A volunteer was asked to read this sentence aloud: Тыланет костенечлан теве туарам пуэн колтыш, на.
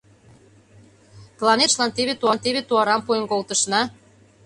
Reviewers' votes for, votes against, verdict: 0, 2, rejected